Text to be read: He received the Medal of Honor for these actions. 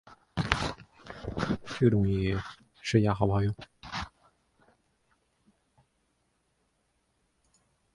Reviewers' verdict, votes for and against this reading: rejected, 0, 2